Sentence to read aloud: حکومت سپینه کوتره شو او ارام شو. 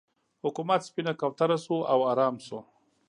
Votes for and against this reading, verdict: 2, 0, accepted